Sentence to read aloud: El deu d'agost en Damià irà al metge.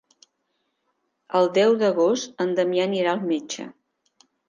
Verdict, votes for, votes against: rejected, 0, 2